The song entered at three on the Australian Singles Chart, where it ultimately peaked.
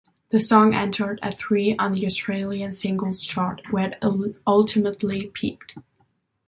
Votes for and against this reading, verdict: 1, 2, rejected